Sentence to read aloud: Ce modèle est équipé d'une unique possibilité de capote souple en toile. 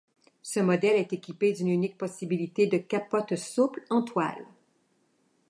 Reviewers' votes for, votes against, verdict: 2, 0, accepted